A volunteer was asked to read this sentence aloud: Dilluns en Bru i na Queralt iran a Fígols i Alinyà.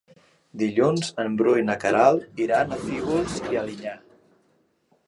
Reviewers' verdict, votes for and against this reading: accepted, 3, 1